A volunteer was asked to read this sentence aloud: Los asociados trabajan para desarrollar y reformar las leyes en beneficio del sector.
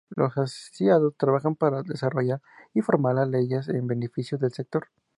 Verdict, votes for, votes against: accepted, 2, 0